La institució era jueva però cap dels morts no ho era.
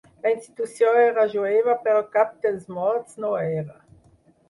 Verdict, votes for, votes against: rejected, 0, 4